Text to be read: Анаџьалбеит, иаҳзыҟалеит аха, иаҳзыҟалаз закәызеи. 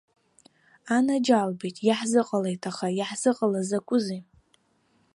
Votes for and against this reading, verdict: 2, 0, accepted